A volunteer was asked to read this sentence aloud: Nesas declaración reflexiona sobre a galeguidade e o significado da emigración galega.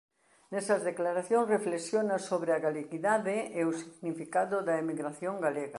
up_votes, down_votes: 2, 0